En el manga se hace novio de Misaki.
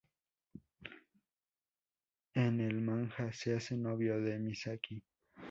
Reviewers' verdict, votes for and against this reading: rejected, 0, 2